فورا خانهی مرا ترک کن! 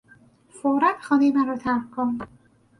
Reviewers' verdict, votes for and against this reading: accepted, 4, 0